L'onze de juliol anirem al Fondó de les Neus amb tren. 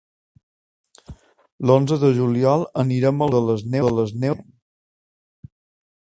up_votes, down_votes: 0, 2